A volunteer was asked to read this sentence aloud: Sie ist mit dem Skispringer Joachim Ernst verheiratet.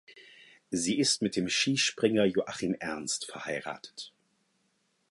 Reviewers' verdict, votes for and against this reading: accepted, 4, 0